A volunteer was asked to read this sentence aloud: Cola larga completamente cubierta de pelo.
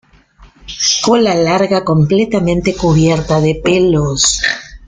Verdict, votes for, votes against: rejected, 0, 2